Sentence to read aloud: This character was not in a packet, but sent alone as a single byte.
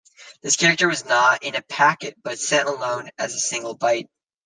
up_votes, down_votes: 2, 0